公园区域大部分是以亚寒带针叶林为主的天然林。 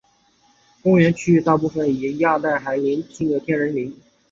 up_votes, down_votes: 0, 3